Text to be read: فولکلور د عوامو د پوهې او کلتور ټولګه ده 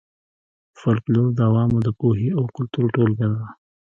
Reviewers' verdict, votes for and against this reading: rejected, 1, 2